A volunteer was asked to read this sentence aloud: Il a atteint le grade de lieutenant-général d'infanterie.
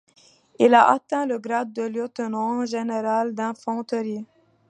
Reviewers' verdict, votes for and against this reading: accepted, 2, 0